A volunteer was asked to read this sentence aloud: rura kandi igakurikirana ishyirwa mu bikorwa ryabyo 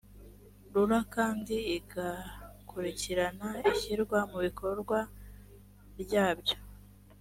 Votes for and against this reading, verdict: 2, 0, accepted